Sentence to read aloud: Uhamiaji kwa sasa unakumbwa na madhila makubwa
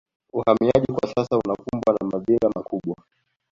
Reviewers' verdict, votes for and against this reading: accepted, 2, 0